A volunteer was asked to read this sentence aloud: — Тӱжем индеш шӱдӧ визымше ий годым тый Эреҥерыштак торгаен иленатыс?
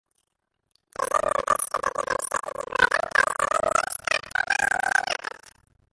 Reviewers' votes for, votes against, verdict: 0, 2, rejected